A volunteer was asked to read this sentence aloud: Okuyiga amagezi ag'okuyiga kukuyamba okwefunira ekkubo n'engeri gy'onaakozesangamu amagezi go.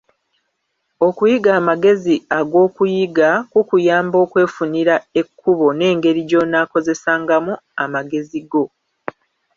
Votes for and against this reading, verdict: 1, 2, rejected